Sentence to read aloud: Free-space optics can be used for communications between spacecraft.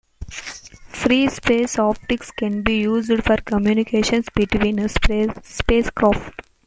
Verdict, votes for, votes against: rejected, 0, 2